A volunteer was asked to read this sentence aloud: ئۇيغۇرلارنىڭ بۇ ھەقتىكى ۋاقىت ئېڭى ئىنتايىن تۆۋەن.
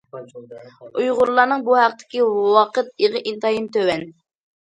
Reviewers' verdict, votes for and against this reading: accepted, 2, 1